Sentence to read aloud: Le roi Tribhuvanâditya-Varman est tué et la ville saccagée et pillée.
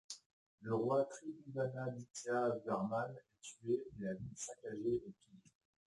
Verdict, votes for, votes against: rejected, 0, 2